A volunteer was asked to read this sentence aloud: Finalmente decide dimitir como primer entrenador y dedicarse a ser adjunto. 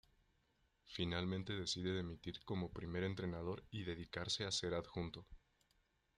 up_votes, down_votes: 2, 1